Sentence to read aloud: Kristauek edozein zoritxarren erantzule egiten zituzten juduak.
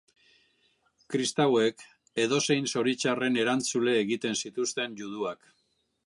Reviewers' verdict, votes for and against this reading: accepted, 3, 0